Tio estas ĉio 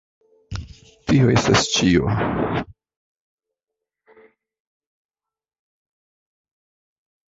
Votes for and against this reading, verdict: 2, 1, accepted